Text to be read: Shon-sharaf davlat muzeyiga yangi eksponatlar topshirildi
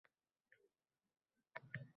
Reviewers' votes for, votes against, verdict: 0, 2, rejected